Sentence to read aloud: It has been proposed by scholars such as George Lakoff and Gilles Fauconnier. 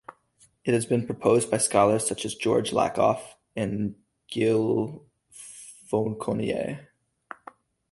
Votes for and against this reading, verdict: 0, 2, rejected